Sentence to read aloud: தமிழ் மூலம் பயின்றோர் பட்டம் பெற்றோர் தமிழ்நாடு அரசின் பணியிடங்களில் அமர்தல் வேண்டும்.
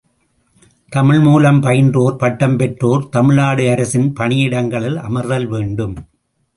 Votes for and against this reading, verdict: 2, 1, accepted